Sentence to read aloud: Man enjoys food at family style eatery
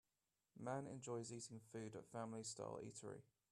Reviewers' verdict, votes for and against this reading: accepted, 2, 1